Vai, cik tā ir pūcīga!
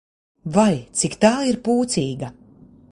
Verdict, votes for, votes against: accepted, 2, 0